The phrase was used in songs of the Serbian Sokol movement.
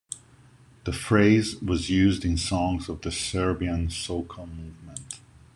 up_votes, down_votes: 0, 2